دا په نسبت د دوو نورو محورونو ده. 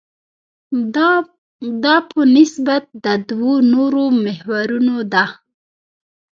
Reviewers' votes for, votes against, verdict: 0, 2, rejected